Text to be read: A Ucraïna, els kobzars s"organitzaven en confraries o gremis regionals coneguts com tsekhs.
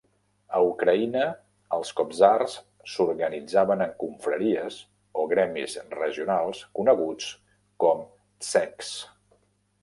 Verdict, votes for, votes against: accepted, 2, 0